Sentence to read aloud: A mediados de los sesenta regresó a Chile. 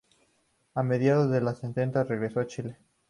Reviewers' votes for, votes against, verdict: 2, 2, rejected